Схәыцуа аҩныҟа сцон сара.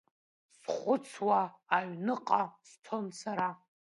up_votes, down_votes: 0, 2